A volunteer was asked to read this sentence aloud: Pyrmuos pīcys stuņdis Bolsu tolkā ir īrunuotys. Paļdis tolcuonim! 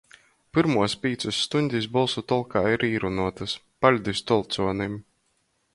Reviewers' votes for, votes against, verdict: 2, 0, accepted